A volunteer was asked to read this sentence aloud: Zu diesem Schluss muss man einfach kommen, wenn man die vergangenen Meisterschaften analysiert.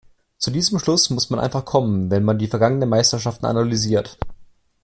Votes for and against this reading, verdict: 2, 0, accepted